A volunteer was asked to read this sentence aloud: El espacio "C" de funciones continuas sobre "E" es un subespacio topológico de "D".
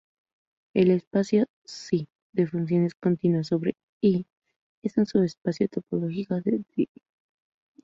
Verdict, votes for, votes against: rejected, 0, 2